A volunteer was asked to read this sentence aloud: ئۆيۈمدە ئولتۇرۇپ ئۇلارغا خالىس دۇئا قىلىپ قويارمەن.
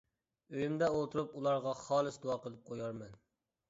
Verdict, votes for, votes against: accepted, 2, 0